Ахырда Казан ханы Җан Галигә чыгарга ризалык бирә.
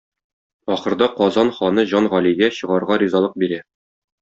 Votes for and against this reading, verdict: 2, 0, accepted